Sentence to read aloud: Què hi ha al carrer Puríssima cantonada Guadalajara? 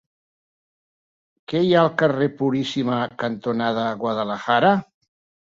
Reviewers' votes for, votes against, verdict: 3, 0, accepted